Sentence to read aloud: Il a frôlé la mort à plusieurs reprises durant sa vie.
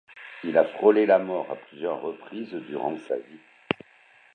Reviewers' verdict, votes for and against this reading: rejected, 1, 2